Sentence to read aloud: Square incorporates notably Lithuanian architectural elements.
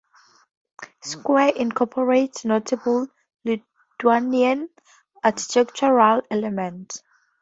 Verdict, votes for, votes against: rejected, 0, 2